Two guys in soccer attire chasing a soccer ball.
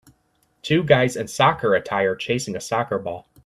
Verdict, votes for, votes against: rejected, 1, 2